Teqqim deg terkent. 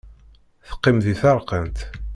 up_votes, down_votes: 1, 2